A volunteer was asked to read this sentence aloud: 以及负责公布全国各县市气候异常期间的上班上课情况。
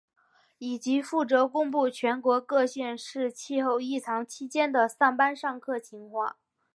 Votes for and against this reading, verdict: 3, 0, accepted